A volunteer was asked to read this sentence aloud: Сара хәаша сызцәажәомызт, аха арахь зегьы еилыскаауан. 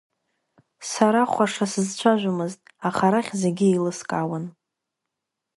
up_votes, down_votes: 2, 0